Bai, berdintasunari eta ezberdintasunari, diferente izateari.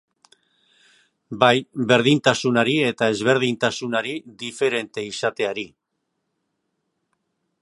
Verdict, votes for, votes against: accepted, 2, 0